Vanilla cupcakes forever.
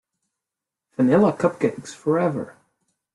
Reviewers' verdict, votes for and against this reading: accepted, 2, 0